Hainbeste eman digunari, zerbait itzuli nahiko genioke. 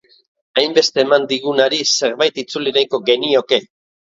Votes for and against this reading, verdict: 7, 0, accepted